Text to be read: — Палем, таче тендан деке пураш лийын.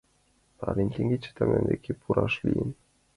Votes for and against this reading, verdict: 0, 2, rejected